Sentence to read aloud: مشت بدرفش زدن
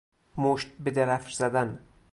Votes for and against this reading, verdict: 4, 0, accepted